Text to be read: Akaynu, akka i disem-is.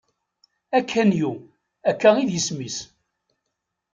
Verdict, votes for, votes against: rejected, 1, 3